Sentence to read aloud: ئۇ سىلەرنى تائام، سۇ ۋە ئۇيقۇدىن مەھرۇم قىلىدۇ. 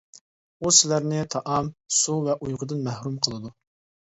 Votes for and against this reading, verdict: 2, 0, accepted